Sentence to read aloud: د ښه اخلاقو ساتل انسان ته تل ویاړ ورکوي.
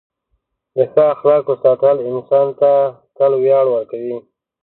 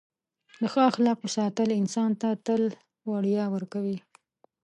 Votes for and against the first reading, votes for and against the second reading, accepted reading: 2, 0, 1, 2, first